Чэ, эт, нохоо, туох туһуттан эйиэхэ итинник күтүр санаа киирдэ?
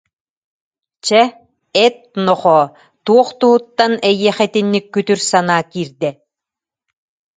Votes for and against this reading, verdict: 2, 0, accepted